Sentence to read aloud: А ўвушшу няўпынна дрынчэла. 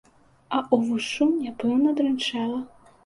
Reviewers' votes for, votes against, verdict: 0, 2, rejected